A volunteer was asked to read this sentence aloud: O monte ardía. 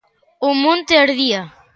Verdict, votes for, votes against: accepted, 3, 0